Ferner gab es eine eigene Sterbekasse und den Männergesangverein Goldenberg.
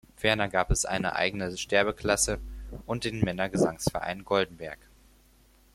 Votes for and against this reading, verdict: 0, 4, rejected